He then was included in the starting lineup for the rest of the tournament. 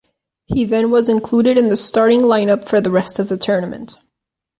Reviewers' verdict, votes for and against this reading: accepted, 2, 0